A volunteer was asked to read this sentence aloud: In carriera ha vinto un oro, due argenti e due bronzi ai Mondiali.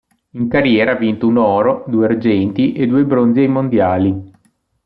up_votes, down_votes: 2, 0